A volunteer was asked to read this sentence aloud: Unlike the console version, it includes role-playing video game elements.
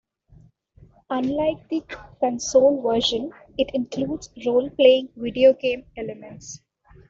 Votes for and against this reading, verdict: 2, 1, accepted